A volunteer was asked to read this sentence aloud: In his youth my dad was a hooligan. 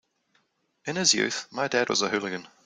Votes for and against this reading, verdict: 2, 0, accepted